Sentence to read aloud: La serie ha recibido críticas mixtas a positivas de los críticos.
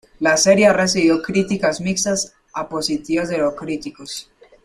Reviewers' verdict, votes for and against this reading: accepted, 2, 0